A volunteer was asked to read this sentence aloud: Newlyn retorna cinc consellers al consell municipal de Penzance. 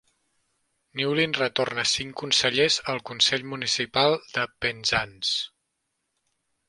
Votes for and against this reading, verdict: 2, 0, accepted